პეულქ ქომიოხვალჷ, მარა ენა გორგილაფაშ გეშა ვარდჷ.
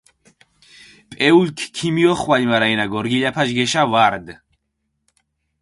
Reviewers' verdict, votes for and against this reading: accepted, 4, 0